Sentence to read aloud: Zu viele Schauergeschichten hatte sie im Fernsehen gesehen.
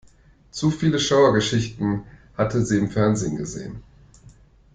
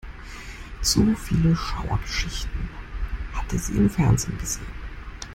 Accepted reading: first